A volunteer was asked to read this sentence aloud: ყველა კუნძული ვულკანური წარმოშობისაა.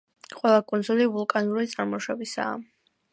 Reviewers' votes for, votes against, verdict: 2, 0, accepted